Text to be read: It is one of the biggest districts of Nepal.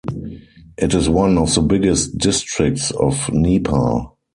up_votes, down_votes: 2, 4